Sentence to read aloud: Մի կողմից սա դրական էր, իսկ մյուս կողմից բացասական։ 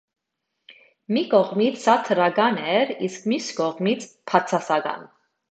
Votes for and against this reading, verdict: 1, 2, rejected